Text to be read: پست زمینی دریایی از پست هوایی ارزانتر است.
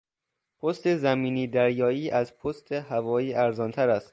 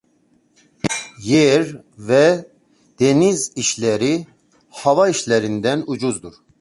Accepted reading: first